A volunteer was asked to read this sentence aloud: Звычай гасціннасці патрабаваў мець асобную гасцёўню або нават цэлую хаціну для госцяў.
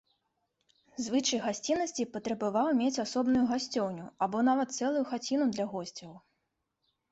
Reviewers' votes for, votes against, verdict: 2, 0, accepted